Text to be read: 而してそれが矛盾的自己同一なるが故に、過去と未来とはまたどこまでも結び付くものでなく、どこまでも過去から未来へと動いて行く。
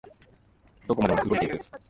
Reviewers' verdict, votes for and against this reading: rejected, 0, 4